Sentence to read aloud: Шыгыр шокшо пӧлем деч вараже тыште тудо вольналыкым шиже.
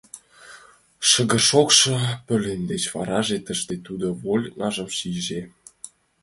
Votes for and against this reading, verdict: 1, 2, rejected